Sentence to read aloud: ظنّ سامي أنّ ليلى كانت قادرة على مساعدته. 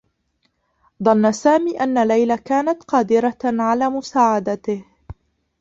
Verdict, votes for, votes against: rejected, 0, 2